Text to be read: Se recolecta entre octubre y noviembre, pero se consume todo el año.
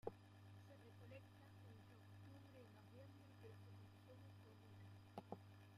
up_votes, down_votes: 0, 2